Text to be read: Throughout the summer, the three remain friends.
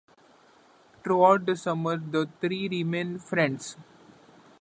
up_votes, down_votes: 2, 0